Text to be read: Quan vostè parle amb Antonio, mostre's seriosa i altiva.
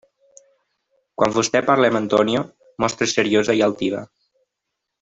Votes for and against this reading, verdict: 2, 0, accepted